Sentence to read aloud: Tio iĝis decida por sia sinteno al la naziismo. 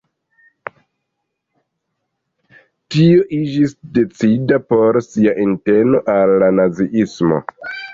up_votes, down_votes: 2, 0